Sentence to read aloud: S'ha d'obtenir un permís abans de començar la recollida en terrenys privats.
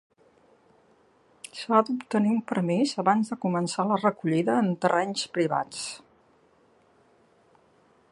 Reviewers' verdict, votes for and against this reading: rejected, 0, 2